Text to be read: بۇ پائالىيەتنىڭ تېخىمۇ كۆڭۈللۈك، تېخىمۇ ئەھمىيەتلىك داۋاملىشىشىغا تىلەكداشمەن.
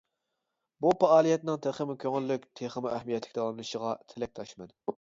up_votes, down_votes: 3, 0